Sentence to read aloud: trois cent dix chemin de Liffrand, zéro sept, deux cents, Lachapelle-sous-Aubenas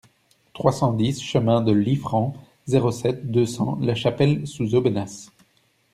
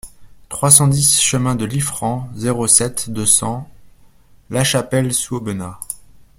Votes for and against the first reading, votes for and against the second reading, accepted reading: 1, 2, 2, 0, second